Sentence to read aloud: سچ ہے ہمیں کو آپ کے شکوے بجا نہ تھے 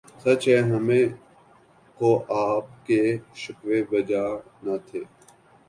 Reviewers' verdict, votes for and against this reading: accepted, 8, 1